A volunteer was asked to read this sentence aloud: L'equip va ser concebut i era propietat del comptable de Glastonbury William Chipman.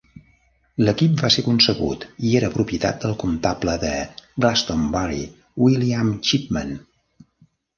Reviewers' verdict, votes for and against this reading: accepted, 2, 0